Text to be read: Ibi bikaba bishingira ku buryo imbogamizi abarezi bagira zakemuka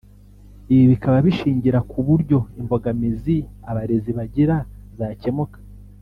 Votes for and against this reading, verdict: 1, 2, rejected